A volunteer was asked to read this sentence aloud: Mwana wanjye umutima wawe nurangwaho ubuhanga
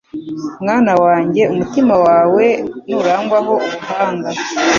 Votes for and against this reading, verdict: 2, 0, accepted